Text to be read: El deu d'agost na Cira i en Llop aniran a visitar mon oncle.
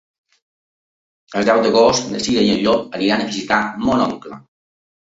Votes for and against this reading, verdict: 2, 0, accepted